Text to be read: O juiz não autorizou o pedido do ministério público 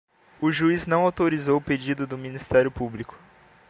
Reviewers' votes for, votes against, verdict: 2, 0, accepted